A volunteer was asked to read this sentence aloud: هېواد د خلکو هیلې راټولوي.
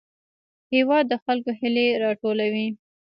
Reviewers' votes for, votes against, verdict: 2, 1, accepted